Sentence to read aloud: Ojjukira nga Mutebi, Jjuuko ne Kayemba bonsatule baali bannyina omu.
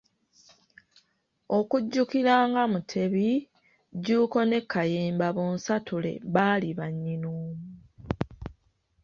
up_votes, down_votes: 0, 2